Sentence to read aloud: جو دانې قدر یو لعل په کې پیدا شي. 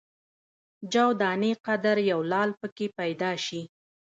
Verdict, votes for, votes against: accepted, 2, 0